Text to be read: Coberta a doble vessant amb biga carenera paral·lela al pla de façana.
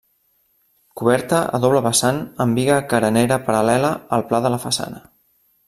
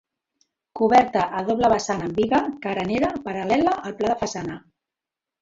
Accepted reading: second